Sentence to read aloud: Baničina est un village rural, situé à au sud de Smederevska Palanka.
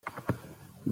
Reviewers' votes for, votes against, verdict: 1, 2, rejected